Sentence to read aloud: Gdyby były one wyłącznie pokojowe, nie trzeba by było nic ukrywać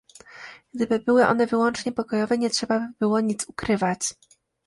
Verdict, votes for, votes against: accepted, 2, 0